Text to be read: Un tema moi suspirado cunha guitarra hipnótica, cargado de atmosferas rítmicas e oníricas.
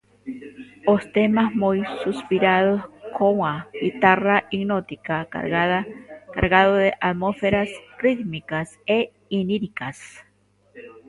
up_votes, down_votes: 0, 2